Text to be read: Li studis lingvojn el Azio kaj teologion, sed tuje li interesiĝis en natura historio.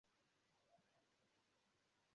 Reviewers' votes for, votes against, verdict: 0, 2, rejected